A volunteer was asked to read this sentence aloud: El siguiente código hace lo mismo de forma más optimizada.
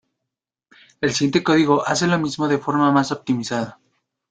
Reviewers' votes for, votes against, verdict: 2, 1, accepted